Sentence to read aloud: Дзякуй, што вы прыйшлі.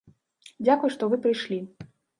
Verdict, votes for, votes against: accepted, 2, 0